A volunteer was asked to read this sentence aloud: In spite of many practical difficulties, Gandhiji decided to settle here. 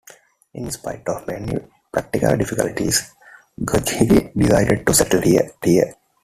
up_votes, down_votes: 1, 2